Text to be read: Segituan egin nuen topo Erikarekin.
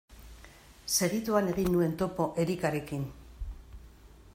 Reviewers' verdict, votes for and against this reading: accepted, 2, 0